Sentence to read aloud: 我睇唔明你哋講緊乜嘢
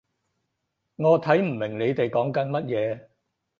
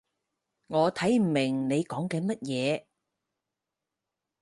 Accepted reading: first